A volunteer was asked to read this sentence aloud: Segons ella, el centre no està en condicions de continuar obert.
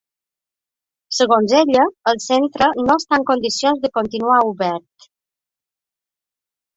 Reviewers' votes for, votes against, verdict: 3, 0, accepted